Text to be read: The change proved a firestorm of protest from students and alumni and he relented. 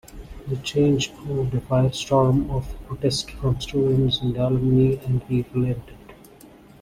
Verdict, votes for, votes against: rejected, 1, 2